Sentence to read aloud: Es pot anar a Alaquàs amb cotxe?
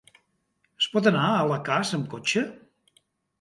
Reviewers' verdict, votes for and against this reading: rejected, 1, 2